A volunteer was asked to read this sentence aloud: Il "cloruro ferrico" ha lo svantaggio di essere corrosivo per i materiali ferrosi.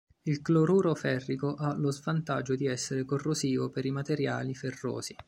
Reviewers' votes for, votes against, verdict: 2, 0, accepted